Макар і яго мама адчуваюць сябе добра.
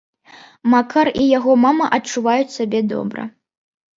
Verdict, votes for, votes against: accepted, 2, 0